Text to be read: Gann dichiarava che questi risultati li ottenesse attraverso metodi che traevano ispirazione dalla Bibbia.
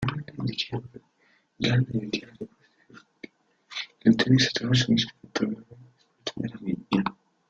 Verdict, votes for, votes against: rejected, 0, 2